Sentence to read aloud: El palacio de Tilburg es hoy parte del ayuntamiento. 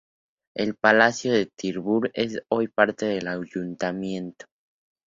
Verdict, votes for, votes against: accepted, 2, 0